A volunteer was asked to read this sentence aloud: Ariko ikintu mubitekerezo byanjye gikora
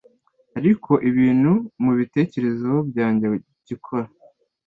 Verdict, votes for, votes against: accepted, 2, 0